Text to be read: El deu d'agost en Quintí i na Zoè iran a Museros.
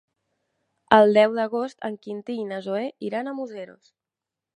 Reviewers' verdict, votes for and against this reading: accepted, 3, 0